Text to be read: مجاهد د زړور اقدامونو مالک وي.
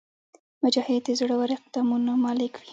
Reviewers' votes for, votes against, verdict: 2, 0, accepted